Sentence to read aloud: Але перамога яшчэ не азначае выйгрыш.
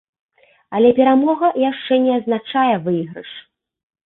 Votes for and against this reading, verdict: 2, 0, accepted